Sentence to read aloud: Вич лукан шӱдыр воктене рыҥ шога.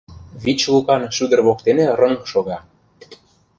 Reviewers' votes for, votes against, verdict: 2, 0, accepted